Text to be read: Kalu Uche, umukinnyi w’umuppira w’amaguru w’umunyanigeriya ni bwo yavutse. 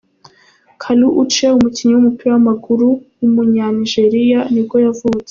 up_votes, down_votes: 2, 0